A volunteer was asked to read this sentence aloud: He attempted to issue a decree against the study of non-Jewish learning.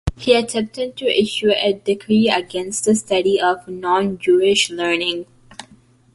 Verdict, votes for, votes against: accepted, 3, 0